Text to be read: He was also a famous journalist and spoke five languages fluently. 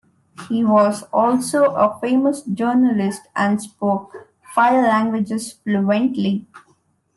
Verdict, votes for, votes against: accepted, 2, 0